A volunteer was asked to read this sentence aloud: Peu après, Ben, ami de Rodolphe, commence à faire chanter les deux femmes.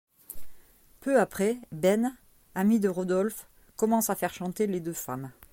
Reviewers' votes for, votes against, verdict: 2, 0, accepted